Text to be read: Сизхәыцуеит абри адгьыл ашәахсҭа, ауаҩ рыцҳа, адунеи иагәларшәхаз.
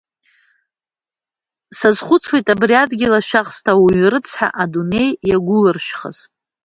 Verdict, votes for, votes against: rejected, 0, 2